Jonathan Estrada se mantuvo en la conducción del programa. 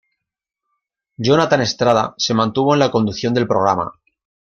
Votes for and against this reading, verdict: 2, 0, accepted